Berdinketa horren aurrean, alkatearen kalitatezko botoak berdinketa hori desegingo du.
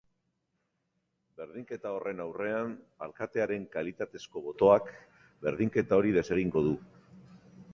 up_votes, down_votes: 2, 0